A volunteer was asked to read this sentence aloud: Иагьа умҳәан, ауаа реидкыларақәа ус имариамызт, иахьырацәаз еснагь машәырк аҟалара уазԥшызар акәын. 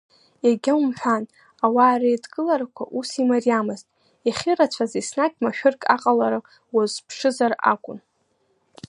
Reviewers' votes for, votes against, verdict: 2, 0, accepted